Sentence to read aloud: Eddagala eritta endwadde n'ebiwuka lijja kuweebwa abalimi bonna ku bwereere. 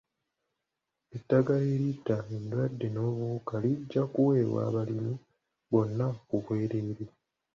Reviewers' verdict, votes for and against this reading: rejected, 1, 2